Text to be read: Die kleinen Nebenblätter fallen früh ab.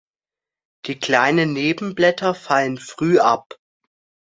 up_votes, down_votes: 2, 0